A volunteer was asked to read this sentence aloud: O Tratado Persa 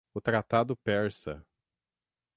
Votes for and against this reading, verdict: 6, 0, accepted